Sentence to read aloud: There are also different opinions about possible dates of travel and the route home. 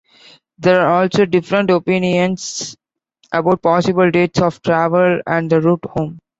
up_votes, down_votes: 0, 2